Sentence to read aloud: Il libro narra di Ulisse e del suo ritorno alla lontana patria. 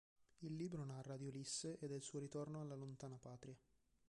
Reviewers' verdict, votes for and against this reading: rejected, 1, 2